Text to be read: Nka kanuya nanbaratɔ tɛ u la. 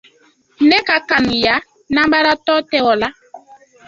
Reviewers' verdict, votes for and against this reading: rejected, 0, 2